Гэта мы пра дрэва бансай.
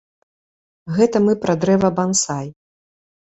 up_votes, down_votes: 2, 0